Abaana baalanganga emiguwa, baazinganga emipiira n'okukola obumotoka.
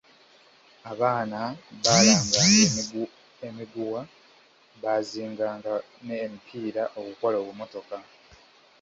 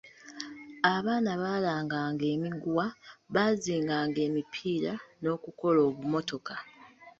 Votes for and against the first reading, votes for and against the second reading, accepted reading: 1, 2, 2, 0, second